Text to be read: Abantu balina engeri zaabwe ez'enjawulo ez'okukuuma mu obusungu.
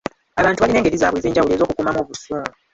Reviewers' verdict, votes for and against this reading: rejected, 0, 3